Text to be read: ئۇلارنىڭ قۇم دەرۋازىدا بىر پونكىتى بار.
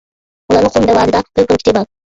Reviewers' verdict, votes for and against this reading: rejected, 0, 2